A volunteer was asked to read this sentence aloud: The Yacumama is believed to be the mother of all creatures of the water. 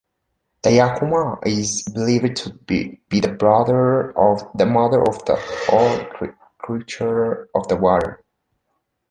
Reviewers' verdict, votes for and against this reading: rejected, 0, 2